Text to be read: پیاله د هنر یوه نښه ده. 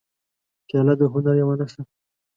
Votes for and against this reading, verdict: 2, 0, accepted